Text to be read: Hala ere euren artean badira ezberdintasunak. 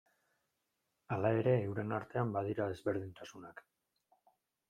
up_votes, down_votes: 2, 0